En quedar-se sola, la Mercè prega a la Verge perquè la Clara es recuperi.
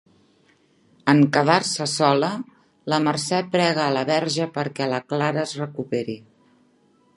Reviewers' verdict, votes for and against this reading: accepted, 3, 1